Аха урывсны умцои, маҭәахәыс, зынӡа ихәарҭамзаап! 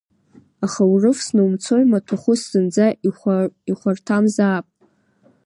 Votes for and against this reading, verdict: 1, 2, rejected